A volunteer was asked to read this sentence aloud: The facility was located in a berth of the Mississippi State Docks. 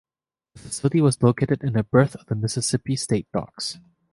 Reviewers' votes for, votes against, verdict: 1, 2, rejected